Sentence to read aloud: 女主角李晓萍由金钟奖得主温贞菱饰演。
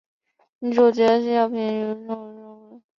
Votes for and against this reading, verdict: 1, 6, rejected